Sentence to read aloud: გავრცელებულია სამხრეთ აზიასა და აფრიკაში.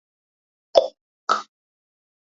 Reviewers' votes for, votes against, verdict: 0, 2, rejected